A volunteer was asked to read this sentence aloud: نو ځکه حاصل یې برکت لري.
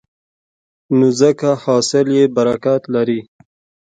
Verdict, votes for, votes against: accepted, 2, 0